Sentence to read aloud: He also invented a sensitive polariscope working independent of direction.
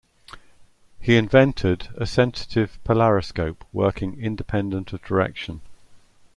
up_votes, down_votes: 1, 2